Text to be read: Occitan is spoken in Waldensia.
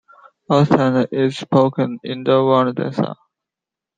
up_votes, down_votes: 1, 2